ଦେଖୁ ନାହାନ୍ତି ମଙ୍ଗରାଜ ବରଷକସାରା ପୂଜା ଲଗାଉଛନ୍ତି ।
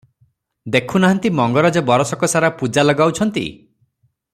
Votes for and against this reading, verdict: 3, 0, accepted